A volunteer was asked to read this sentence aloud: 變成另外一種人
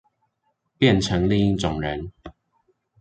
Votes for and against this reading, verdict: 1, 2, rejected